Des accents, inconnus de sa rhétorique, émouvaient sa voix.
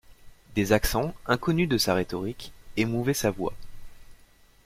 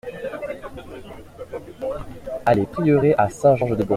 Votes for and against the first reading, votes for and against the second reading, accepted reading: 2, 0, 0, 2, first